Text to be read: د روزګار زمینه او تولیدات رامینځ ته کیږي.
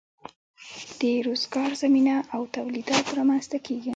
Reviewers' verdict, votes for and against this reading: accepted, 2, 0